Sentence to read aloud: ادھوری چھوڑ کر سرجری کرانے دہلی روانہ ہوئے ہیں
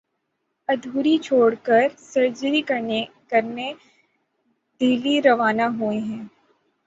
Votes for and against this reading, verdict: 0, 6, rejected